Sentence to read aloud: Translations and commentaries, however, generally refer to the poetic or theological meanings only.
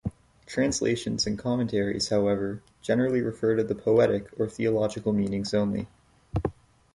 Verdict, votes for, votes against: accepted, 2, 0